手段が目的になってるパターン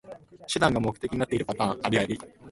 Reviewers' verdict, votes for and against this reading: rejected, 0, 2